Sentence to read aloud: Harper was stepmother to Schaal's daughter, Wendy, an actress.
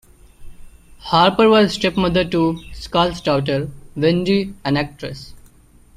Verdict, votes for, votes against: rejected, 1, 2